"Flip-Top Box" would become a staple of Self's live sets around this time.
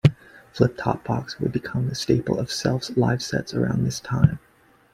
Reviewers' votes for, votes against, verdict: 2, 0, accepted